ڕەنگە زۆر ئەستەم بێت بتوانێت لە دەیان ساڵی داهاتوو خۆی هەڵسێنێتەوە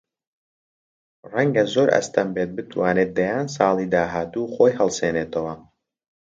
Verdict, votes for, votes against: rejected, 0, 2